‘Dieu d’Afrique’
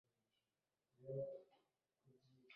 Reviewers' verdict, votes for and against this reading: rejected, 0, 2